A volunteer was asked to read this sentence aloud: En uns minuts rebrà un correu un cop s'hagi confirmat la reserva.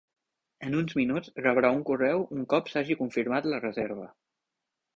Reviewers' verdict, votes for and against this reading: rejected, 1, 2